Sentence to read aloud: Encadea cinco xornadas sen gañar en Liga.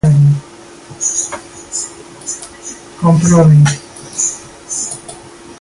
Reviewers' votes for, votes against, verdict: 0, 2, rejected